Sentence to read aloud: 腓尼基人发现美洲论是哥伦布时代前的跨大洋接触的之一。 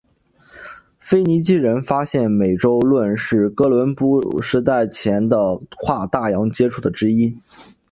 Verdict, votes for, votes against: accepted, 3, 0